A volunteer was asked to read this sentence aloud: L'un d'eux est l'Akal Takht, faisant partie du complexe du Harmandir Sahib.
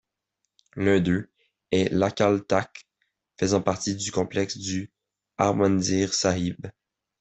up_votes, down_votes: 2, 0